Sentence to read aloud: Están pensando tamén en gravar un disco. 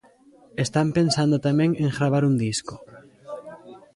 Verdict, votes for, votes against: accepted, 2, 0